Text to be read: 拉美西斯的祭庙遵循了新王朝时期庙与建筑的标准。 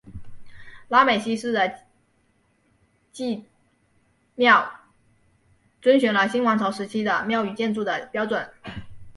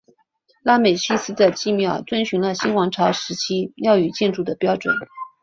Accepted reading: second